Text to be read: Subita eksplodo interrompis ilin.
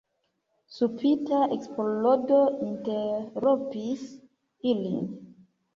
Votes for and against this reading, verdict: 0, 2, rejected